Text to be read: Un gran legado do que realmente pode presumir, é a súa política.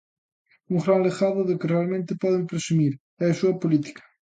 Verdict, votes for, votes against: accepted, 3, 0